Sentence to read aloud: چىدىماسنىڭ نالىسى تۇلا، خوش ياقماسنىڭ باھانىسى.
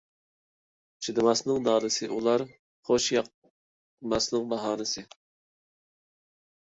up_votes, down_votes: 1, 2